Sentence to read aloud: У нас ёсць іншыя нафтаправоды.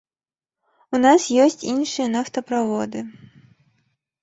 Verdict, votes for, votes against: accepted, 2, 0